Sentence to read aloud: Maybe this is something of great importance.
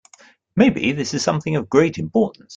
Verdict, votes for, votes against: accepted, 2, 0